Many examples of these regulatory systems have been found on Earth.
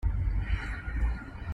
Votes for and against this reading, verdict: 0, 2, rejected